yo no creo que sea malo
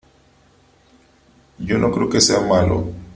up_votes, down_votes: 3, 0